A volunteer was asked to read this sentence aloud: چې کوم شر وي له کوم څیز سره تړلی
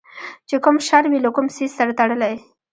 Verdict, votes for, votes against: accepted, 2, 1